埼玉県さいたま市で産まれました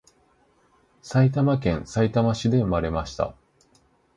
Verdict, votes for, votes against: accepted, 2, 0